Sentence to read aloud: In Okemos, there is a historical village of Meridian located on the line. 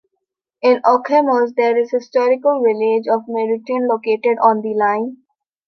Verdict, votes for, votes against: accepted, 2, 1